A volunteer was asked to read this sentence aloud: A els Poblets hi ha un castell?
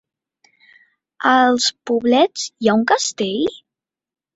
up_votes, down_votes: 3, 0